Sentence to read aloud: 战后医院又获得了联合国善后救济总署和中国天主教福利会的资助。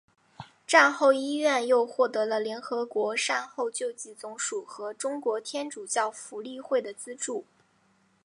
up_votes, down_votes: 2, 0